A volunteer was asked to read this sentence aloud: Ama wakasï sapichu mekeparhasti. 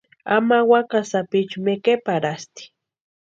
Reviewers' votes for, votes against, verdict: 2, 0, accepted